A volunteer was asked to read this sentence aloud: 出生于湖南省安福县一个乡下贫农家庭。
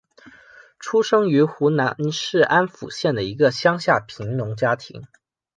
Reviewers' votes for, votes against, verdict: 0, 2, rejected